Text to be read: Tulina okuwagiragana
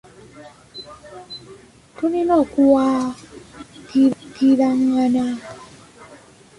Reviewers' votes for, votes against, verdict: 0, 2, rejected